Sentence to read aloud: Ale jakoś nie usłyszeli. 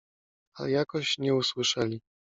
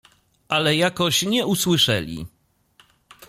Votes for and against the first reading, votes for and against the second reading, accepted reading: 0, 2, 2, 0, second